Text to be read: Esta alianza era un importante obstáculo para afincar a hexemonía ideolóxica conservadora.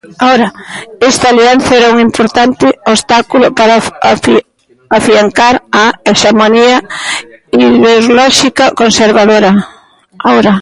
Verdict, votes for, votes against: rejected, 0, 2